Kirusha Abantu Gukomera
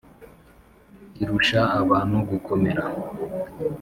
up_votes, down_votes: 4, 0